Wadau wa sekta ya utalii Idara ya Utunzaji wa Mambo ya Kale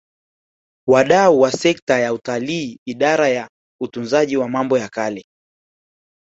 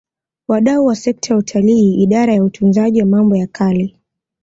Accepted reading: second